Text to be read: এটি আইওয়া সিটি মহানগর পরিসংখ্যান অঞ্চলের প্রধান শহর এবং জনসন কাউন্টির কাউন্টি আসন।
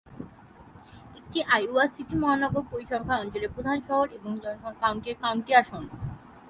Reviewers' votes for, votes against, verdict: 3, 0, accepted